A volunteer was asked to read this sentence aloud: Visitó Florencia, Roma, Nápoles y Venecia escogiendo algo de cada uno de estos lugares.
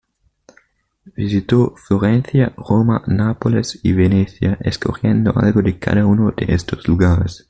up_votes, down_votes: 2, 0